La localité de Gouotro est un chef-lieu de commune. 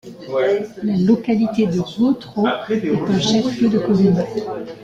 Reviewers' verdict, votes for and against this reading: rejected, 1, 2